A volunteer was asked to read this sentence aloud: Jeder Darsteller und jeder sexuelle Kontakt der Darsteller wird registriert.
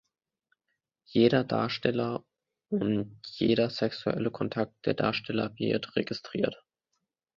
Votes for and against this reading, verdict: 2, 0, accepted